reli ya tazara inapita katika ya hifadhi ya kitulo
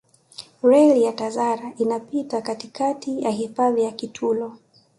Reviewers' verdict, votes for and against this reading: accepted, 3, 0